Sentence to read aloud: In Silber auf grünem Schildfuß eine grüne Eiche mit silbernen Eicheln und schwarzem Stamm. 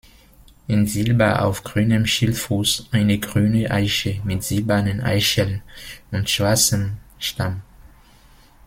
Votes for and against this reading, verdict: 2, 0, accepted